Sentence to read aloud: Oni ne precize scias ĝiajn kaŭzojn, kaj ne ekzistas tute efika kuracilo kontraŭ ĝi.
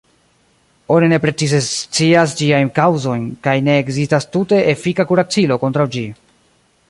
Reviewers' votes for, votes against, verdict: 0, 2, rejected